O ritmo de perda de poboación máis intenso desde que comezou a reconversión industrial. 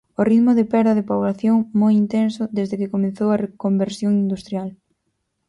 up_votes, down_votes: 0, 6